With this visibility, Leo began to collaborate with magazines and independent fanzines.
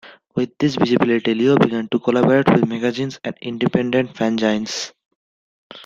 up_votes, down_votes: 1, 2